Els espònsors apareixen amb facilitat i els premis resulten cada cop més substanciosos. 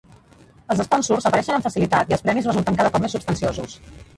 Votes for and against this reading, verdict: 0, 2, rejected